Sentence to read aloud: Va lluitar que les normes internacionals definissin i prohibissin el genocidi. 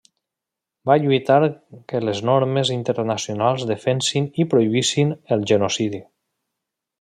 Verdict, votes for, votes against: rejected, 1, 2